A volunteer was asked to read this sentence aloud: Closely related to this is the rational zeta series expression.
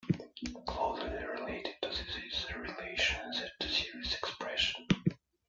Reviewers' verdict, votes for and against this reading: rejected, 0, 2